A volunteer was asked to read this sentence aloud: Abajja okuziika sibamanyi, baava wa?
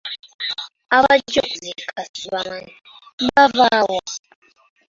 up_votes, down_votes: 0, 2